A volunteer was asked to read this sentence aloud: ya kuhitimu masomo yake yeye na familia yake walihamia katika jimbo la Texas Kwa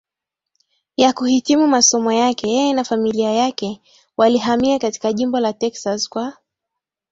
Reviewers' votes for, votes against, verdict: 14, 1, accepted